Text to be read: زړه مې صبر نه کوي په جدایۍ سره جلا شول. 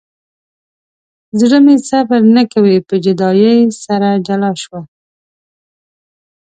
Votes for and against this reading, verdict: 4, 0, accepted